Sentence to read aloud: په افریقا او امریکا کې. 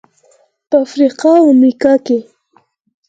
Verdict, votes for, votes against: accepted, 4, 0